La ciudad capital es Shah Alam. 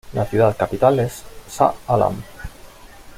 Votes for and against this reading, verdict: 2, 0, accepted